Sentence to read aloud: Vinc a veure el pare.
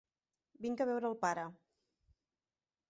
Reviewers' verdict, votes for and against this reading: accepted, 3, 0